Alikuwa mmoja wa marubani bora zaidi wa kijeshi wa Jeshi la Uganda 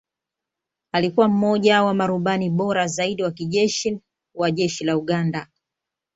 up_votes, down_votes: 2, 0